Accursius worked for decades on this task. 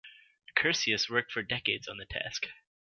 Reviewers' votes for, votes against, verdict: 1, 2, rejected